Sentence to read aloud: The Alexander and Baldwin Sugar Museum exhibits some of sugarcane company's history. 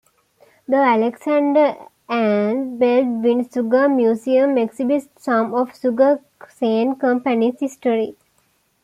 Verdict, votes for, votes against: rejected, 0, 2